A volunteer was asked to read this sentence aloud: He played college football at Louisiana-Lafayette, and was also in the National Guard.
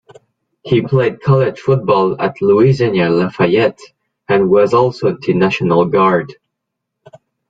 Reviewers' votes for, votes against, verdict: 2, 0, accepted